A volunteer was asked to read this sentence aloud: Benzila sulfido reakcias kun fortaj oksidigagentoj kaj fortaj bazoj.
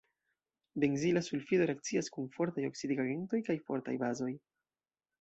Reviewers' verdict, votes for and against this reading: rejected, 0, 2